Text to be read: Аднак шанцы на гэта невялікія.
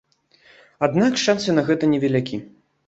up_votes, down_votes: 1, 2